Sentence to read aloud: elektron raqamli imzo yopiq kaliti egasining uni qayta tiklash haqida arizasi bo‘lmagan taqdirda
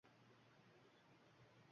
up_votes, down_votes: 1, 2